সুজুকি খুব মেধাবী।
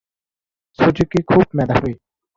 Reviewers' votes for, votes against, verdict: 2, 0, accepted